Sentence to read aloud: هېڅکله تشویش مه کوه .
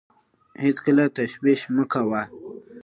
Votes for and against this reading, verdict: 2, 0, accepted